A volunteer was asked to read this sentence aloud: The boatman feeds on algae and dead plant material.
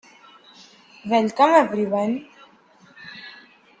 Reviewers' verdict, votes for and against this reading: rejected, 0, 2